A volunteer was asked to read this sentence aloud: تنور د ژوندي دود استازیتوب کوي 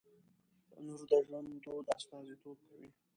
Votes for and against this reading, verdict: 1, 2, rejected